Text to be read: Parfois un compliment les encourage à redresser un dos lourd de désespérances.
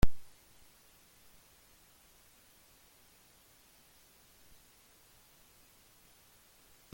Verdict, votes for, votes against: rejected, 0, 2